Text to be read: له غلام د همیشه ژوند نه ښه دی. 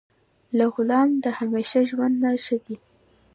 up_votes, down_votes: 0, 2